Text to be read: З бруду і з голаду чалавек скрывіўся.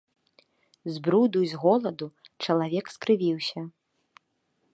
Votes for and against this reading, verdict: 2, 0, accepted